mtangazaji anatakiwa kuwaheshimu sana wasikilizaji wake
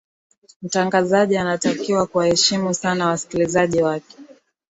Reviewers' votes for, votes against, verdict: 3, 0, accepted